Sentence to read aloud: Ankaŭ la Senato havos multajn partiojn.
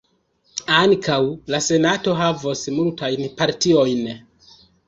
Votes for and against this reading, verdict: 0, 2, rejected